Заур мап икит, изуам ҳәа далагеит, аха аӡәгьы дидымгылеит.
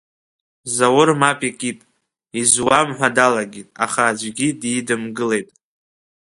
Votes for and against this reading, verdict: 2, 0, accepted